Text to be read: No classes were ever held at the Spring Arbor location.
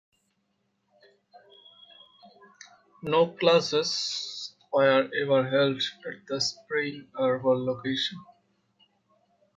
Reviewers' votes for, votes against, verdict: 2, 0, accepted